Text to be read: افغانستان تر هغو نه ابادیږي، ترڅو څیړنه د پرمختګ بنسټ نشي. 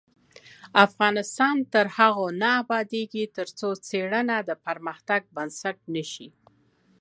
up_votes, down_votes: 2, 0